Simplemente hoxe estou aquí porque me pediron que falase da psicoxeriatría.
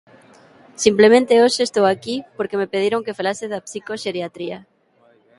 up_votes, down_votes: 2, 0